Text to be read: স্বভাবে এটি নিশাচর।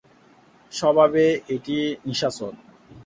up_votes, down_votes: 4, 0